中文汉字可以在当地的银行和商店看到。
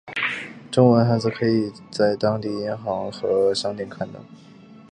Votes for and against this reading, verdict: 2, 0, accepted